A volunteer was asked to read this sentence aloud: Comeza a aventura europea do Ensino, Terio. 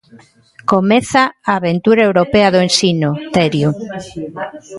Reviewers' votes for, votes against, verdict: 2, 0, accepted